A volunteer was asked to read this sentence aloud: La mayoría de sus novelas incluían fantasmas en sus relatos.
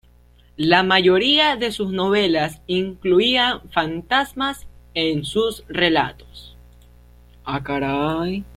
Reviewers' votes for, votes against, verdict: 1, 2, rejected